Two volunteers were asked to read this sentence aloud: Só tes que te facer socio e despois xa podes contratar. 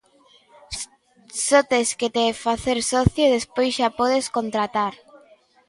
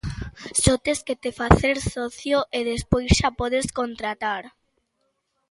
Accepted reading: second